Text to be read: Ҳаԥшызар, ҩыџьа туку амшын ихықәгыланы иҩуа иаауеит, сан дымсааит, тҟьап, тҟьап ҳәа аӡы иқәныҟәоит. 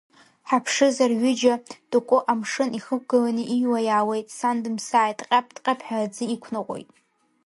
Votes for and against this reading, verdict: 0, 2, rejected